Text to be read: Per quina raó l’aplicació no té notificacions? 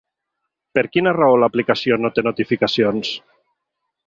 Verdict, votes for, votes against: accepted, 3, 0